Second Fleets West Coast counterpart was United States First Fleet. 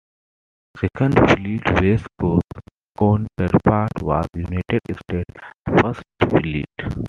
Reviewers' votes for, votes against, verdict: 1, 2, rejected